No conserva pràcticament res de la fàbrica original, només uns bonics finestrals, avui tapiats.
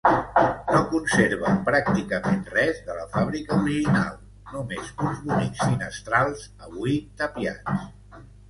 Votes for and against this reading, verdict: 2, 1, accepted